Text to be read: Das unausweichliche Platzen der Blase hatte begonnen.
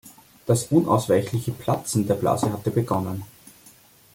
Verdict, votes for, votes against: accepted, 2, 0